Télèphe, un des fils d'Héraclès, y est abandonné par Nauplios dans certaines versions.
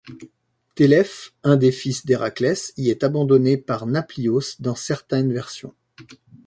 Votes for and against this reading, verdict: 0, 2, rejected